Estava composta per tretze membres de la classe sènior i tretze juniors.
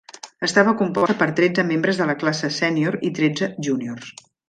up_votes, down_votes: 1, 2